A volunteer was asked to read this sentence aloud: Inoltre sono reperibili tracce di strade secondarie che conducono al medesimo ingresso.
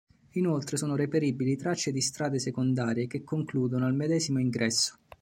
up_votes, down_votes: 1, 3